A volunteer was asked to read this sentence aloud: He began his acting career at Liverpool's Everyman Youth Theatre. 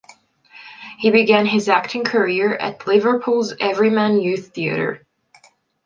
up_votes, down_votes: 2, 0